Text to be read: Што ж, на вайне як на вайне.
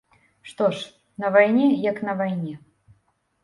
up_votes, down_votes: 2, 0